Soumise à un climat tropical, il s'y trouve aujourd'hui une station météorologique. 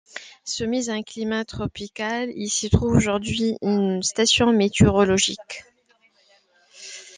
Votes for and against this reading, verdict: 2, 0, accepted